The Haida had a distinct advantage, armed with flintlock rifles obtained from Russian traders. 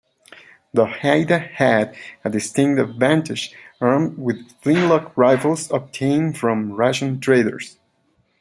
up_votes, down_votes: 2, 0